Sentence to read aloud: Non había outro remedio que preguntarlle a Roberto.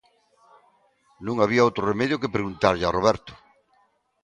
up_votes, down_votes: 2, 0